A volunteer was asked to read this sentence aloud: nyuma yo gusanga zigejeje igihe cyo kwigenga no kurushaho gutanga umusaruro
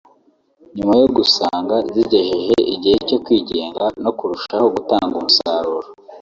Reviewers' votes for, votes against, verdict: 0, 2, rejected